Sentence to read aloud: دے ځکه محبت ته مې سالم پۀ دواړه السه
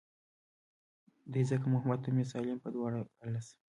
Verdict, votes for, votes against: accepted, 2, 0